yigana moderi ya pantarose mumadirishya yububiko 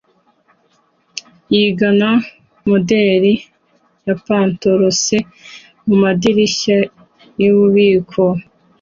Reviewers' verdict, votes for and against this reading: accepted, 2, 0